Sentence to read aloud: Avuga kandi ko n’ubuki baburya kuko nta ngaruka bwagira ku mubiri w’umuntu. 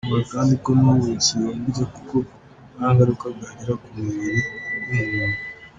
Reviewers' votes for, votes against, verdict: 2, 0, accepted